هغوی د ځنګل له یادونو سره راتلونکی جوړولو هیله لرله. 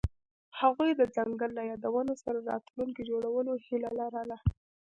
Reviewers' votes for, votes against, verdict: 1, 2, rejected